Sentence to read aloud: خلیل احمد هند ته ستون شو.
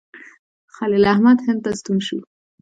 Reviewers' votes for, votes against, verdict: 2, 1, accepted